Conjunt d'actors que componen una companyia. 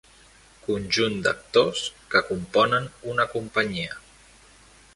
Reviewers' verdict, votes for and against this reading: accepted, 3, 0